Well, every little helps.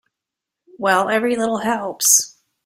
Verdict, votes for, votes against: accepted, 2, 0